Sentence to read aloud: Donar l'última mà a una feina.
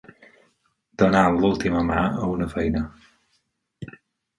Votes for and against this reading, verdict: 2, 4, rejected